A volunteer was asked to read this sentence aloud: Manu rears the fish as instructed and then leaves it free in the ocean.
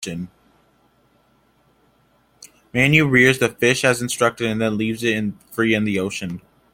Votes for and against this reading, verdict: 0, 2, rejected